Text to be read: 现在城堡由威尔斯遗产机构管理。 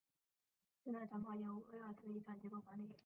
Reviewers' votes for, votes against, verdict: 1, 3, rejected